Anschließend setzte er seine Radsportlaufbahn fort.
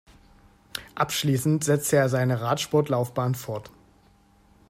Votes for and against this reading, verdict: 1, 2, rejected